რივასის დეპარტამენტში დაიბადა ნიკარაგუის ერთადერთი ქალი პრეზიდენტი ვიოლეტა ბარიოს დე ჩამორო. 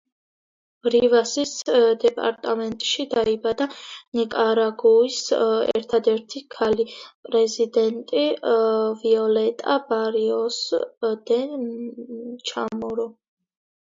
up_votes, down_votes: 2, 0